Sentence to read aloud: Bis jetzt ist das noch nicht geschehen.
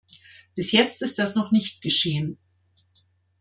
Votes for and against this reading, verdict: 2, 0, accepted